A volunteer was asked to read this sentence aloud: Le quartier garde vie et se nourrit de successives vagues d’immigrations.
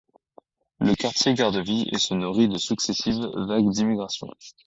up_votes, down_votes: 2, 0